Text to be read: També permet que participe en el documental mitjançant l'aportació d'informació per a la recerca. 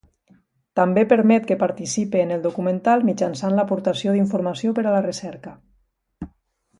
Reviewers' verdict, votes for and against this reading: accepted, 2, 0